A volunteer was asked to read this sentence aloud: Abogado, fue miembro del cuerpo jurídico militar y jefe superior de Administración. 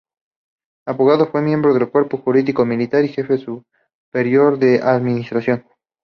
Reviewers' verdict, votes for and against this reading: accepted, 2, 0